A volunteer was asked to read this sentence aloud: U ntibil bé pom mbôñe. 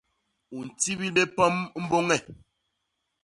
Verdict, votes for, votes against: rejected, 1, 2